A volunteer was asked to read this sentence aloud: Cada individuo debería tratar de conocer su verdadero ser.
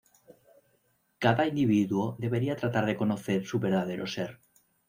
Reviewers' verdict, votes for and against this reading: accepted, 2, 0